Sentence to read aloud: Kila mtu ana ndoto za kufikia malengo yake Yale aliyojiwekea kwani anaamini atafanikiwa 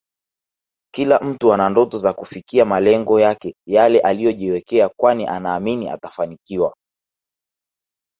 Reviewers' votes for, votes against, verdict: 2, 1, accepted